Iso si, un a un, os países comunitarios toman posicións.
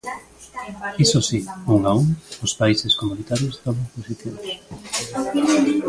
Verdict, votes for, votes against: accepted, 2, 0